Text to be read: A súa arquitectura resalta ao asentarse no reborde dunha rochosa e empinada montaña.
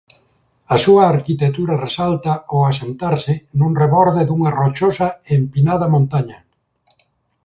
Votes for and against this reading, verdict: 1, 2, rejected